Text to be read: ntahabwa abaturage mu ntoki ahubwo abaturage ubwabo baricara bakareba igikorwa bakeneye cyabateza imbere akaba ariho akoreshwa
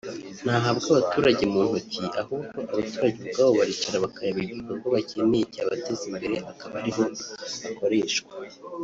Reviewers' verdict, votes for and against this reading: rejected, 1, 2